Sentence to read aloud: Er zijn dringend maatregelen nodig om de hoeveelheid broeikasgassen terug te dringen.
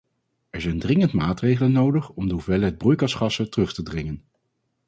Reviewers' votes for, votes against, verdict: 2, 0, accepted